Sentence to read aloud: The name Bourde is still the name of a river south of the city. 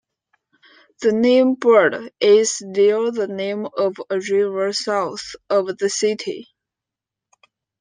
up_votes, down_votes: 2, 0